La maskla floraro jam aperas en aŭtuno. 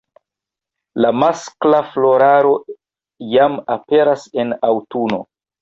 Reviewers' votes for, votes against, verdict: 0, 2, rejected